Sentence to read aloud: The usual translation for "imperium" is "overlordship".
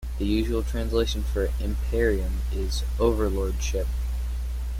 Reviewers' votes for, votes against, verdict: 2, 0, accepted